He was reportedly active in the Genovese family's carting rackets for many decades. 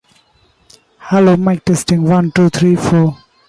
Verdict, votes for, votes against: rejected, 0, 2